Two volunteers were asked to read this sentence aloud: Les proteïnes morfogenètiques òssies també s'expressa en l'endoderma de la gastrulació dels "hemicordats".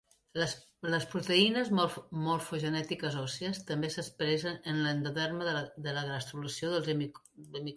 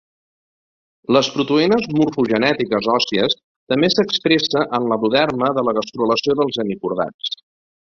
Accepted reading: second